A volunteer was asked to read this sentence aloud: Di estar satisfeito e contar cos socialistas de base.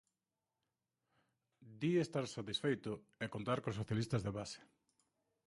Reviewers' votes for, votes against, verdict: 0, 2, rejected